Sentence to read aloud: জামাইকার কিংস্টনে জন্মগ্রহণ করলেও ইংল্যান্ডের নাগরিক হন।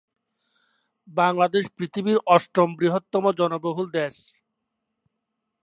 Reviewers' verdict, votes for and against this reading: rejected, 0, 2